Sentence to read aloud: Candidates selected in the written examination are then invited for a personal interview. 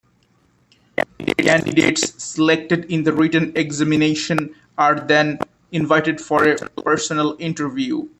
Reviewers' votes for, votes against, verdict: 1, 2, rejected